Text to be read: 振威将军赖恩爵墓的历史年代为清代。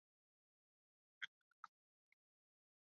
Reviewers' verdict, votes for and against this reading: rejected, 0, 2